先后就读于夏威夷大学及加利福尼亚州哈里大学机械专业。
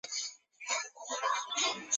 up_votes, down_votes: 0, 2